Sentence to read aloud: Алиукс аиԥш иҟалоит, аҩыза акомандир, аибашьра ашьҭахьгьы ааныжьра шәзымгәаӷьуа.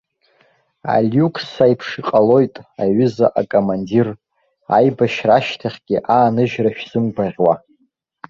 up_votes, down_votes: 2, 1